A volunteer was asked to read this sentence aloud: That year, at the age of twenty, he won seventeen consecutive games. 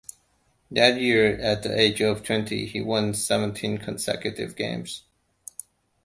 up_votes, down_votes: 2, 0